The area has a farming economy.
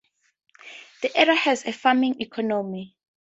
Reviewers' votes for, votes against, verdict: 2, 0, accepted